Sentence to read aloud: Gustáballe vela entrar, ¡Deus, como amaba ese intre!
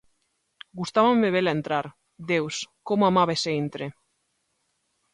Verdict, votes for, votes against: rejected, 0, 2